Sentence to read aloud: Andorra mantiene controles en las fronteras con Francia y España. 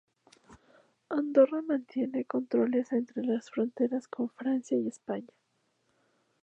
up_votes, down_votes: 0, 2